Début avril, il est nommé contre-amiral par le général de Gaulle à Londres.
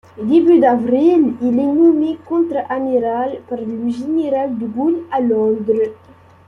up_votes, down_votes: 2, 0